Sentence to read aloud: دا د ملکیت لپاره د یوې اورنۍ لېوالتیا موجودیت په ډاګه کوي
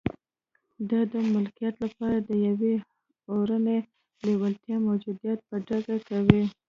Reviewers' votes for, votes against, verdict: 0, 2, rejected